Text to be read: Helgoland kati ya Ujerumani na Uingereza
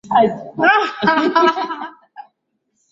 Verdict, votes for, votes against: rejected, 0, 2